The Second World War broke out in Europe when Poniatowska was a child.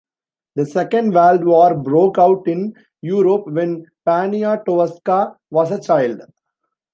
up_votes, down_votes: 2, 0